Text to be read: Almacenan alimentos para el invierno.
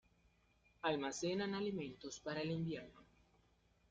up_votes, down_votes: 2, 1